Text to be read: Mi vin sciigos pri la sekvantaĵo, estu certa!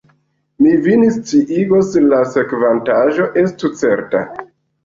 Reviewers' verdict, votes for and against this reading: rejected, 0, 2